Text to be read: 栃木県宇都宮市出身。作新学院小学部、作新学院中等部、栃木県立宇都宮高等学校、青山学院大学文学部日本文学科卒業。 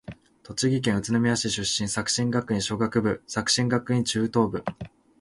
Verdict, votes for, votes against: rejected, 0, 2